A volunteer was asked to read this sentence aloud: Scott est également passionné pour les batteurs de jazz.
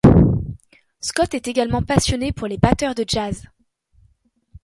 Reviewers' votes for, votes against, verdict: 1, 2, rejected